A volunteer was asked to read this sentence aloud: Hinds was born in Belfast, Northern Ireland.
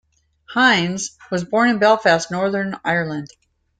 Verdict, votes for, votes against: accepted, 2, 0